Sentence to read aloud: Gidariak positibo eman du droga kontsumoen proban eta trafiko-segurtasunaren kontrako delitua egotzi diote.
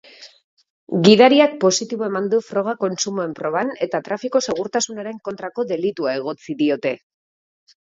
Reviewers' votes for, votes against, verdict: 1, 2, rejected